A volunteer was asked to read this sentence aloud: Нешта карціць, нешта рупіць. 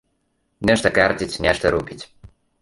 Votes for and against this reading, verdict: 1, 2, rejected